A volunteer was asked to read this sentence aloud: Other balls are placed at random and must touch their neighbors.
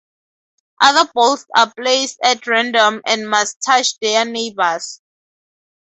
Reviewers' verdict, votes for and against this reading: accepted, 2, 0